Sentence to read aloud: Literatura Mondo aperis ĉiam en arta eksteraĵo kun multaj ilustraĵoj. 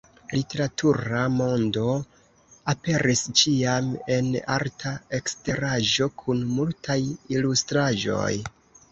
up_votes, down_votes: 2, 0